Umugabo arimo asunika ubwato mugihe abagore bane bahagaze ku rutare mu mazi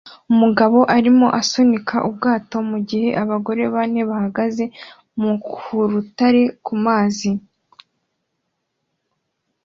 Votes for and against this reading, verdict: 2, 1, accepted